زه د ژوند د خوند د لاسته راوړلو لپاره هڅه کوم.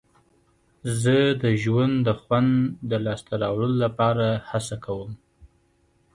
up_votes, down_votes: 2, 0